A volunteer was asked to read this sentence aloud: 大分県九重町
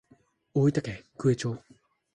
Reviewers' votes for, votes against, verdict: 2, 0, accepted